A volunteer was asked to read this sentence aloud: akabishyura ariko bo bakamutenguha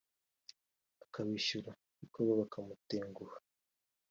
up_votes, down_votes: 3, 2